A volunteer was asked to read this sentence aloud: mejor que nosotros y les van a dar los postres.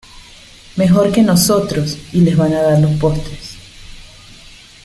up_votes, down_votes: 2, 0